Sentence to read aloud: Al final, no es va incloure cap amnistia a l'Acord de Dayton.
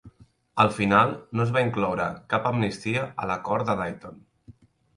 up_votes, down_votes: 2, 0